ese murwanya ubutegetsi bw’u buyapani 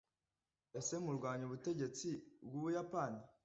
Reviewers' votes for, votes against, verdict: 2, 0, accepted